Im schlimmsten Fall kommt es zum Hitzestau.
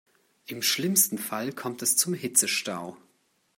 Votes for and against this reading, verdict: 2, 0, accepted